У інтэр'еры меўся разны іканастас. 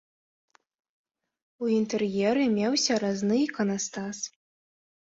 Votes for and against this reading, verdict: 3, 0, accepted